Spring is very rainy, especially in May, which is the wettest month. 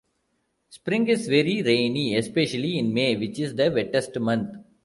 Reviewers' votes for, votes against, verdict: 1, 2, rejected